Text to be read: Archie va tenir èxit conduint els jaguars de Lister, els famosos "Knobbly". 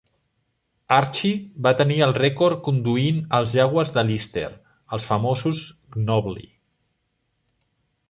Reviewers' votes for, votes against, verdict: 0, 2, rejected